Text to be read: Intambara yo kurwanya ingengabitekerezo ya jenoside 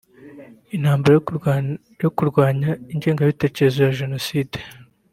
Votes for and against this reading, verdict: 2, 3, rejected